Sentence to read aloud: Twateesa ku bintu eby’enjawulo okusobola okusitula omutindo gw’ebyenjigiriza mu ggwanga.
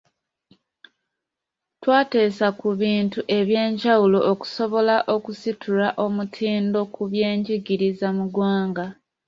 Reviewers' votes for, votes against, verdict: 1, 2, rejected